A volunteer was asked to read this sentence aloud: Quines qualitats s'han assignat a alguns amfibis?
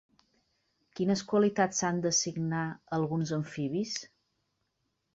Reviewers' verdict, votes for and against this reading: rejected, 0, 2